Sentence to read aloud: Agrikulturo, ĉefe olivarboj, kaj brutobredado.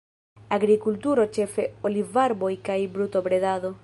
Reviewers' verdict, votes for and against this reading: accepted, 2, 0